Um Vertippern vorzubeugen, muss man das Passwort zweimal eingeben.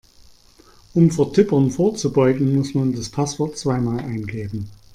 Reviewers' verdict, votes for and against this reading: accepted, 2, 0